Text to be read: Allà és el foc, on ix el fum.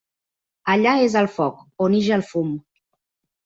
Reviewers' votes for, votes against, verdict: 2, 0, accepted